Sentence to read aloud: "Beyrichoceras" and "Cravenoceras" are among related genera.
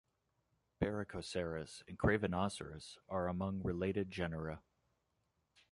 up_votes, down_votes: 2, 0